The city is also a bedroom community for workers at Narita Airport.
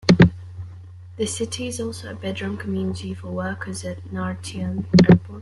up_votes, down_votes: 1, 2